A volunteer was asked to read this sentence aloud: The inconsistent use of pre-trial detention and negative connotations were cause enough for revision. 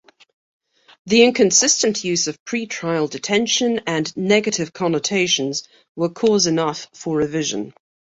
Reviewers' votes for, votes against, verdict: 2, 0, accepted